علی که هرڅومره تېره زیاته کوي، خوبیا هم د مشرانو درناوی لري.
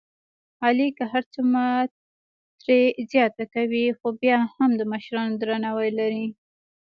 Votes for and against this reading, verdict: 0, 2, rejected